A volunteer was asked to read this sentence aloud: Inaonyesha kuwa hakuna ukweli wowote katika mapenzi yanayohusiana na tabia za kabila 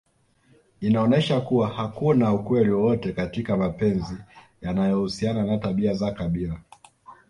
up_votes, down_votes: 2, 0